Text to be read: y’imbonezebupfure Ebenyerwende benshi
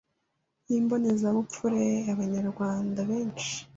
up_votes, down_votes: 1, 2